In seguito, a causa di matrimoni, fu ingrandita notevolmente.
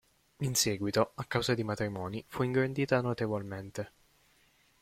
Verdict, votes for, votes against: accepted, 2, 1